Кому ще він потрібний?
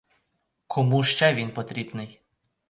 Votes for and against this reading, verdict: 4, 0, accepted